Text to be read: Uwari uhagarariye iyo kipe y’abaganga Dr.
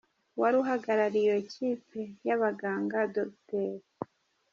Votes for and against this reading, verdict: 2, 0, accepted